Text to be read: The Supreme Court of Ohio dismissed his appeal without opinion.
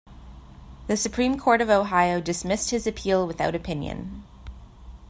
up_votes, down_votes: 2, 0